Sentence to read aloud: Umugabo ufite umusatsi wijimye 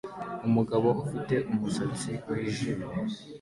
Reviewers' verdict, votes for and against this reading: accepted, 2, 0